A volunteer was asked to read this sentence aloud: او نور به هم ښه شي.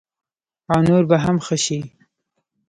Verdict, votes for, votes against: rejected, 1, 2